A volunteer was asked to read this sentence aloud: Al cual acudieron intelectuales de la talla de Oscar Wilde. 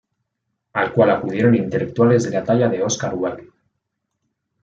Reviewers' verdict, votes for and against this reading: accepted, 2, 0